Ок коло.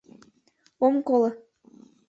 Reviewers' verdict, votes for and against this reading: rejected, 1, 2